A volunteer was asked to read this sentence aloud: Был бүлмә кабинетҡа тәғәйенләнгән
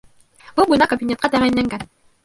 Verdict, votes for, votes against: rejected, 0, 2